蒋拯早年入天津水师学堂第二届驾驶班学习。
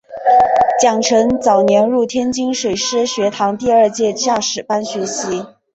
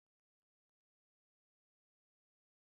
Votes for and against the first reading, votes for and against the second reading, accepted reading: 2, 1, 0, 3, first